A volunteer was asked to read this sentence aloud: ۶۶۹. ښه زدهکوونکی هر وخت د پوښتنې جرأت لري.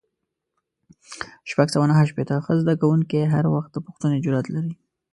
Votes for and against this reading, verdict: 0, 2, rejected